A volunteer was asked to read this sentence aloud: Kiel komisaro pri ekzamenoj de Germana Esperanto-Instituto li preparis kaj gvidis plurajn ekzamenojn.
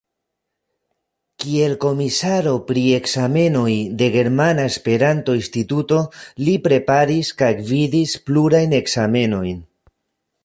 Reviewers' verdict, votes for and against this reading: accepted, 2, 0